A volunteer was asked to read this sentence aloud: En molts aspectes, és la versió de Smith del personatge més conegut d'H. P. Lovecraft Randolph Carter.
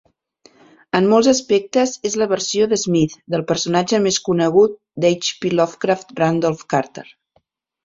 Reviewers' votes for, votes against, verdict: 0, 2, rejected